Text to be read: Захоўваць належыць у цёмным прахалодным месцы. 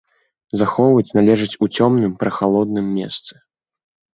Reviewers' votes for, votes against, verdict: 2, 0, accepted